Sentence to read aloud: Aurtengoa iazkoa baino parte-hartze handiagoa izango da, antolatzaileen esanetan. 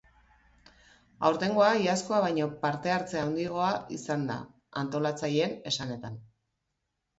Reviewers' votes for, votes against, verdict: 1, 2, rejected